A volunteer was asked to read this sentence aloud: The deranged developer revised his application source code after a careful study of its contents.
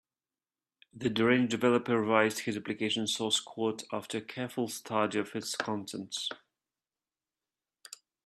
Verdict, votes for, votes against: rejected, 2, 3